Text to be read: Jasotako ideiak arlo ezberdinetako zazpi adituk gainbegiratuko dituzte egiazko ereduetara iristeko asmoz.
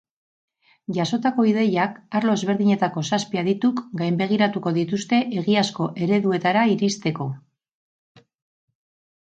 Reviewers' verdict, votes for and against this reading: rejected, 0, 4